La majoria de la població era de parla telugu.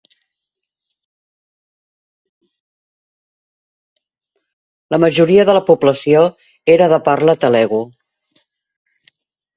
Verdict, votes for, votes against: rejected, 1, 2